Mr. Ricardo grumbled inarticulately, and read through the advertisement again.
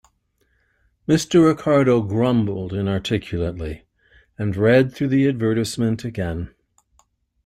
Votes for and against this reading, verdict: 2, 0, accepted